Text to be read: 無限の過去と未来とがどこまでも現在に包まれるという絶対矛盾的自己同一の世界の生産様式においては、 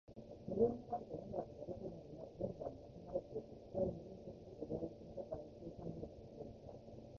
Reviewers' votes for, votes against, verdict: 0, 2, rejected